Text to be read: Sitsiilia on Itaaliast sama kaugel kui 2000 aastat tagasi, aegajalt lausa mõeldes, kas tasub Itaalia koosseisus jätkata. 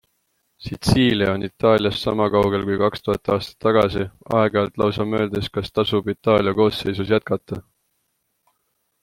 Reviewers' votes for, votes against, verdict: 0, 2, rejected